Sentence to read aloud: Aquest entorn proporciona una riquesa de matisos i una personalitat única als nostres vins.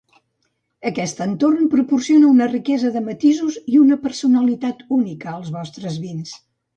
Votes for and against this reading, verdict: 0, 2, rejected